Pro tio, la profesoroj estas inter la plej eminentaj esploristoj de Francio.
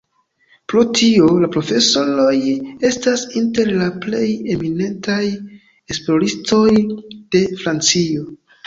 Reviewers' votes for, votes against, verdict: 2, 0, accepted